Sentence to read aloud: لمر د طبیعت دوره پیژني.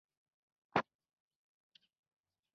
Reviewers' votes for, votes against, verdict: 1, 2, rejected